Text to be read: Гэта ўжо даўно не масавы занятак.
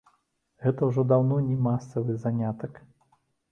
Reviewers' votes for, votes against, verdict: 2, 0, accepted